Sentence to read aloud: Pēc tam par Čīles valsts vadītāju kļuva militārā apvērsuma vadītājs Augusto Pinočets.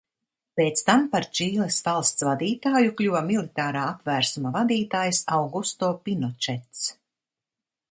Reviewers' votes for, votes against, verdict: 2, 0, accepted